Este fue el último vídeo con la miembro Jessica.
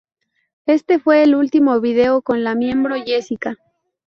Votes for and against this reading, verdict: 0, 2, rejected